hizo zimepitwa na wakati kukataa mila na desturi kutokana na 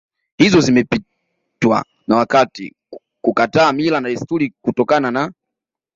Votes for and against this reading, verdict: 2, 1, accepted